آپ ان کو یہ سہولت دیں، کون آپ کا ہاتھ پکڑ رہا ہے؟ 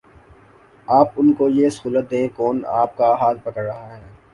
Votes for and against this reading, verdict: 2, 0, accepted